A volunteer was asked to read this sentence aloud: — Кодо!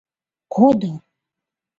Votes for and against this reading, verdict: 0, 2, rejected